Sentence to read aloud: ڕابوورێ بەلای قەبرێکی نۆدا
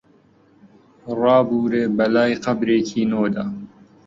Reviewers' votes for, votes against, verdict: 2, 0, accepted